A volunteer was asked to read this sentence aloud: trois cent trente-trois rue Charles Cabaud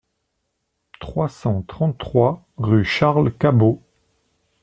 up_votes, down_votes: 2, 0